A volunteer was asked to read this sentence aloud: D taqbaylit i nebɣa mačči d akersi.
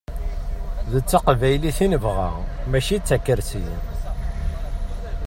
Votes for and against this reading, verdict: 1, 2, rejected